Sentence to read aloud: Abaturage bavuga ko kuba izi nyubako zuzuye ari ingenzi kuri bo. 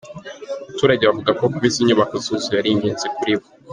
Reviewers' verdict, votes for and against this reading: accepted, 3, 1